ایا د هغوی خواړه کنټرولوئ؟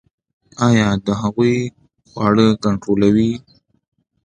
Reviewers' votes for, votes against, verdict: 2, 0, accepted